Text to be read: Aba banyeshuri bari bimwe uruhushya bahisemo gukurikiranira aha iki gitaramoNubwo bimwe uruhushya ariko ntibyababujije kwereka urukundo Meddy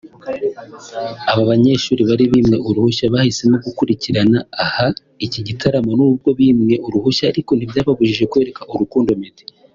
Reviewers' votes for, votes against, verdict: 1, 2, rejected